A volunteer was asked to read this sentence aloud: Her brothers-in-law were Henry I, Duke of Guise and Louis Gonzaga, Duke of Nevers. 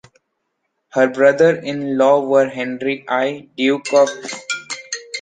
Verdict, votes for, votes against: rejected, 0, 2